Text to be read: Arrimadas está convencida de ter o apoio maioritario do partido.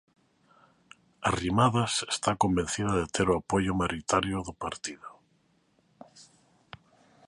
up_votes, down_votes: 0, 2